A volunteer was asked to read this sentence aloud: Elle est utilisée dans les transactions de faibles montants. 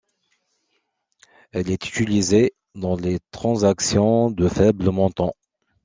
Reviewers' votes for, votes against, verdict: 2, 0, accepted